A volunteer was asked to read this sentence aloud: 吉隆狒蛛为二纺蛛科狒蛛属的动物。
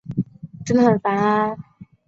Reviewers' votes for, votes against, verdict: 0, 2, rejected